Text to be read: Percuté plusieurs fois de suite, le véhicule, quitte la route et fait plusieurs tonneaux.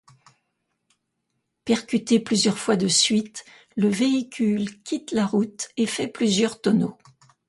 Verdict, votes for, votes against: accepted, 2, 0